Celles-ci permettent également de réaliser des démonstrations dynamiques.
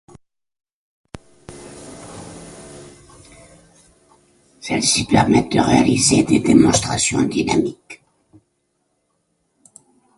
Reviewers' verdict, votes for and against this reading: rejected, 1, 2